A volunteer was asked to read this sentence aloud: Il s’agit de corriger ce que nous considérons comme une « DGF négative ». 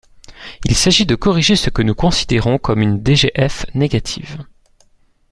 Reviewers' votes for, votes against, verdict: 2, 0, accepted